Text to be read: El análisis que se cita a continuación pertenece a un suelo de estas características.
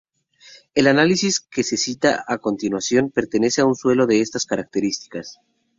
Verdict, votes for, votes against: rejected, 0, 2